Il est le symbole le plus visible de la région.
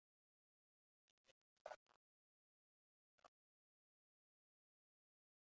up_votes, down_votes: 0, 2